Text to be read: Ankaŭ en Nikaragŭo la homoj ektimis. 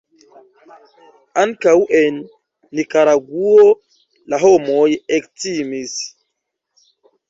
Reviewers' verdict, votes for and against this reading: accepted, 2, 1